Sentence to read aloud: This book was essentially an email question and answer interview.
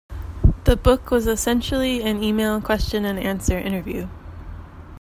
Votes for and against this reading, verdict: 0, 2, rejected